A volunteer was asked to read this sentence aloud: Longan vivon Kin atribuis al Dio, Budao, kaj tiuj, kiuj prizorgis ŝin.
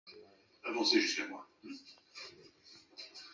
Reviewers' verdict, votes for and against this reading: accepted, 2, 1